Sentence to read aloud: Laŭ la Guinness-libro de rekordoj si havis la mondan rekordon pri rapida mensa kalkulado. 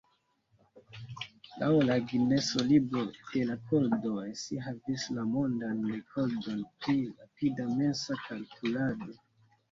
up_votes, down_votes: 1, 2